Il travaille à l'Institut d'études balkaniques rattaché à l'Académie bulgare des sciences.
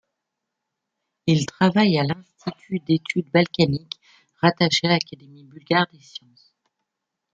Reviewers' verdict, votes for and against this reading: rejected, 0, 2